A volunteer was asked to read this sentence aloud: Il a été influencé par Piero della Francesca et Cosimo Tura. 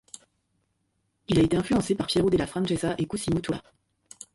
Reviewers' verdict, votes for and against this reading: accepted, 2, 0